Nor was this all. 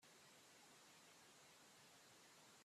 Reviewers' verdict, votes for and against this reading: rejected, 0, 2